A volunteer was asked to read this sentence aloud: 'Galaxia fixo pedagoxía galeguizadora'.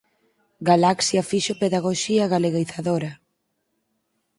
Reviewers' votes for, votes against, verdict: 0, 4, rejected